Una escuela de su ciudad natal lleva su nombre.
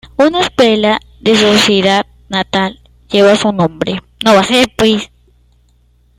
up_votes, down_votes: 1, 2